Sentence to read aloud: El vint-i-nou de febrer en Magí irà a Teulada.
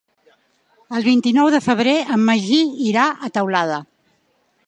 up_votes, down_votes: 2, 0